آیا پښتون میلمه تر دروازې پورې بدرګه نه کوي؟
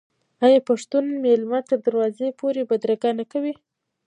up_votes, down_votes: 0, 2